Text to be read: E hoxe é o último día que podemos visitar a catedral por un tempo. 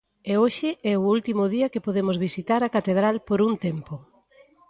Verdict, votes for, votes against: accepted, 2, 0